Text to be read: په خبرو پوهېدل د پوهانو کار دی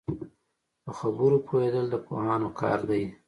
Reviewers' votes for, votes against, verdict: 0, 2, rejected